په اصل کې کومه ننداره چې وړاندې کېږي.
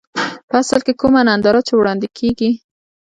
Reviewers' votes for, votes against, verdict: 2, 0, accepted